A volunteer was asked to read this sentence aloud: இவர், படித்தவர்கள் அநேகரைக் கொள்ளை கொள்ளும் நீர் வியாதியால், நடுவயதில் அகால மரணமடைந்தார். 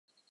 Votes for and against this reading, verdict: 0, 2, rejected